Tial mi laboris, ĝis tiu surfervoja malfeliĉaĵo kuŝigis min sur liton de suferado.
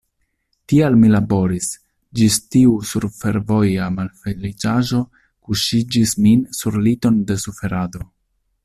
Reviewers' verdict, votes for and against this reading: rejected, 1, 2